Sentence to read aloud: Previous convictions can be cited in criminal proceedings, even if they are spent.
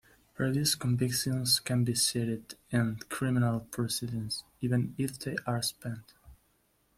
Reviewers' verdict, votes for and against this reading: rejected, 0, 2